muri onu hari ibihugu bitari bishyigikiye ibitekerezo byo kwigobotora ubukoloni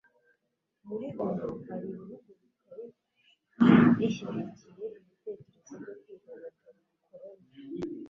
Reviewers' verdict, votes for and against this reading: rejected, 0, 2